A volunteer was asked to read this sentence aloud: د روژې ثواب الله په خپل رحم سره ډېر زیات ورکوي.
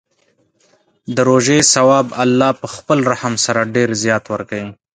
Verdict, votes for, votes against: accepted, 2, 0